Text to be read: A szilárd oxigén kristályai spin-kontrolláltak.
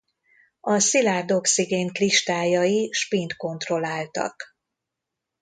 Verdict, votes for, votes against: rejected, 0, 2